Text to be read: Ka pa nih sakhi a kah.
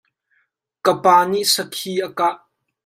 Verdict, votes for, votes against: accepted, 2, 1